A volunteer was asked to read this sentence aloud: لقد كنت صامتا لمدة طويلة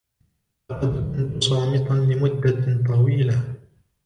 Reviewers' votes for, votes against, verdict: 1, 2, rejected